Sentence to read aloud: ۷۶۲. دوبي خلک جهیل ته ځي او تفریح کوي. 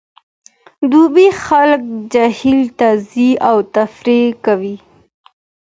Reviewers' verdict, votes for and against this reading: rejected, 0, 2